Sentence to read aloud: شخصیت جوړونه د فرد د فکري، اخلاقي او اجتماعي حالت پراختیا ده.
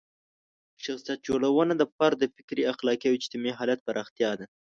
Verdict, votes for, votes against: accepted, 2, 0